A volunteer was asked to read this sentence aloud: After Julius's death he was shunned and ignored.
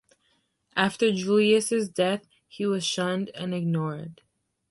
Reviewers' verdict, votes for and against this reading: accepted, 2, 1